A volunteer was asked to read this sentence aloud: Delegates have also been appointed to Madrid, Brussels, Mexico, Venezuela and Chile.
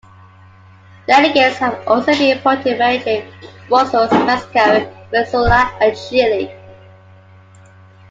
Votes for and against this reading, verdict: 0, 2, rejected